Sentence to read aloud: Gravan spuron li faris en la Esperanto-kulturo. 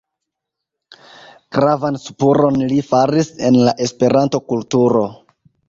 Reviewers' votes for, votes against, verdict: 1, 2, rejected